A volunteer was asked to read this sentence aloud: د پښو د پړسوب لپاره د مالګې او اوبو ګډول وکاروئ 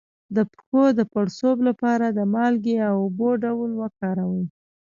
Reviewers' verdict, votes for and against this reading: rejected, 1, 2